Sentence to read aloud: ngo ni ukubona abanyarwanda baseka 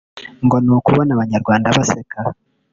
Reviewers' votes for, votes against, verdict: 1, 2, rejected